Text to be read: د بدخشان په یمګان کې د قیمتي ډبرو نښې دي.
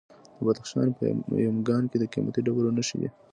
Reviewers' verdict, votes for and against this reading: accepted, 2, 0